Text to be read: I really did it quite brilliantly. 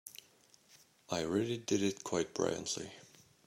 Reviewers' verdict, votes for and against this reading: rejected, 1, 2